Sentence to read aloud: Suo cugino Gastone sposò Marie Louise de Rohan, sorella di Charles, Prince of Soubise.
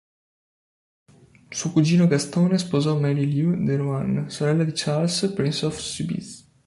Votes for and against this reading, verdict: 1, 2, rejected